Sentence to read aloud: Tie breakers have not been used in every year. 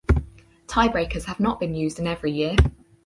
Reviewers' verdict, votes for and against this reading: accepted, 4, 0